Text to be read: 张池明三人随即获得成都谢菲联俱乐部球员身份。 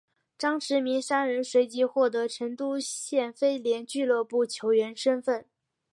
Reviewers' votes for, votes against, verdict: 4, 0, accepted